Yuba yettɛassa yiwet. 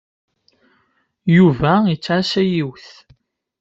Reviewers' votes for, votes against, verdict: 2, 0, accepted